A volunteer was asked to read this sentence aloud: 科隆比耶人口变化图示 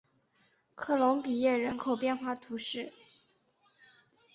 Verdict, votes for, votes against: accepted, 4, 0